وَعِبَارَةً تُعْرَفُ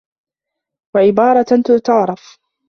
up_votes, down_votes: 0, 2